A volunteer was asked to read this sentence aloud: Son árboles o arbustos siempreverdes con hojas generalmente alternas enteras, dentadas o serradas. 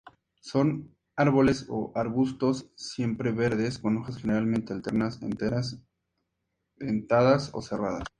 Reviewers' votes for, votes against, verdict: 2, 0, accepted